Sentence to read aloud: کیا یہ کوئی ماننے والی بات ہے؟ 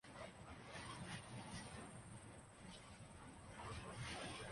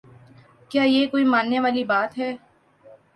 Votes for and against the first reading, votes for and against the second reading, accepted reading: 0, 2, 4, 0, second